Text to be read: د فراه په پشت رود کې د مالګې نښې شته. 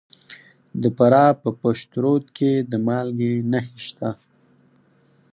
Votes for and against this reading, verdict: 4, 0, accepted